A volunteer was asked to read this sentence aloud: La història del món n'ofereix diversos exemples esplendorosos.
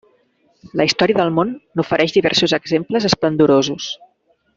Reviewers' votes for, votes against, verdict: 3, 0, accepted